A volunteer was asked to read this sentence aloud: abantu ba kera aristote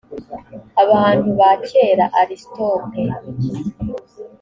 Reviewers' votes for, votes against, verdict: 2, 1, accepted